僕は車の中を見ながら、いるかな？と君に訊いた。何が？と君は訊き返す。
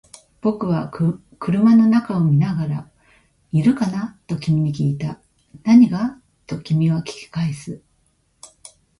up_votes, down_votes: 2, 0